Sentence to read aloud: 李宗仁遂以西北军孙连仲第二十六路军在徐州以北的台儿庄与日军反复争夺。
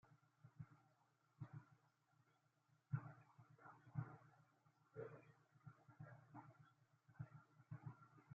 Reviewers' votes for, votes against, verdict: 0, 2, rejected